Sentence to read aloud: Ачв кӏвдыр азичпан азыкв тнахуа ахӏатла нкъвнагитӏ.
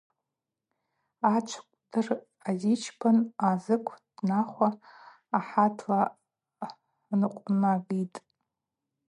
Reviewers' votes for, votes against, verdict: 2, 2, rejected